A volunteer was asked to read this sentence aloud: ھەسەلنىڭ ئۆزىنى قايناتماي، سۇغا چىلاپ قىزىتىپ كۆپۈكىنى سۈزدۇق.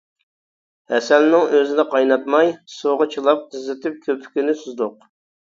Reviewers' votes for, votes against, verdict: 2, 0, accepted